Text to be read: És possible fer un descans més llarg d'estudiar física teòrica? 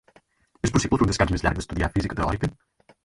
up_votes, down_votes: 0, 4